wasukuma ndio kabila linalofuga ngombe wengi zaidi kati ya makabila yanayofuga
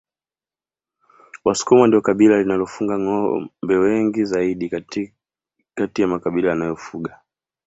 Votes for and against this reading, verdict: 0, 2, rejected